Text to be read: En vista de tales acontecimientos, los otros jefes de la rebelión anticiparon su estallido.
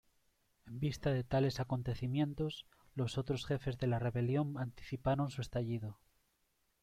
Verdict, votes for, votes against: rejected, 1, 2